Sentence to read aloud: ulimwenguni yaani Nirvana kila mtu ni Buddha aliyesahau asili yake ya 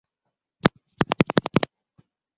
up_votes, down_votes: 0, 2